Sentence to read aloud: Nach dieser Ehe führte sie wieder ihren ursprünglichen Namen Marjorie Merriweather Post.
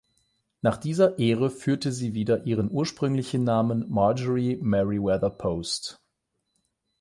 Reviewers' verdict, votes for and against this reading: rejected, 0, 8